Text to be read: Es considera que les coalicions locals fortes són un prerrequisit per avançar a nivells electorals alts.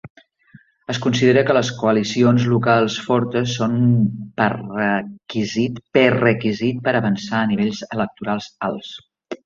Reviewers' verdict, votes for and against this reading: rejected, 0, 2